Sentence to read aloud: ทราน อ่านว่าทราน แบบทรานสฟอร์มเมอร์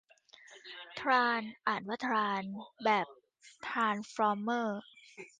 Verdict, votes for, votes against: accepted, 2, 0